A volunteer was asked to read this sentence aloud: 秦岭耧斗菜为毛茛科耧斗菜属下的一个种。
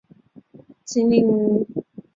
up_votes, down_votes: 1, 3